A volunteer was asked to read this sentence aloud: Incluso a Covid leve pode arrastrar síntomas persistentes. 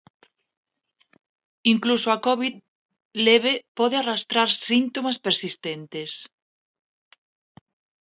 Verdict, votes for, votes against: accepted, 2, 1